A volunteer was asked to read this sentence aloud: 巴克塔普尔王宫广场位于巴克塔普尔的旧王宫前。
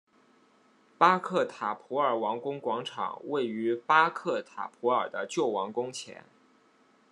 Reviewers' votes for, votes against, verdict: 2, 0, accepted